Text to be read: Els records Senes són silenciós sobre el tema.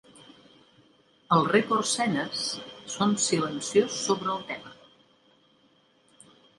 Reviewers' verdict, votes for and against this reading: rejected, 0, 2